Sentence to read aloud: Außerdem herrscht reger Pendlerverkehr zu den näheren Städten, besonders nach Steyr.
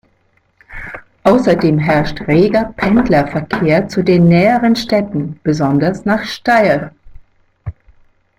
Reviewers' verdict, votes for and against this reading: accepted, 2, 0